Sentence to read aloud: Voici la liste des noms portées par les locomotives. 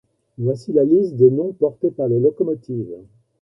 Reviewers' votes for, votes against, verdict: 1, 2, rejected